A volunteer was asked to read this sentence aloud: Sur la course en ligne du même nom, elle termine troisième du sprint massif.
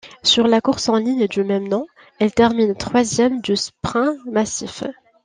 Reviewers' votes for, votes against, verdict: 1, 2, rejected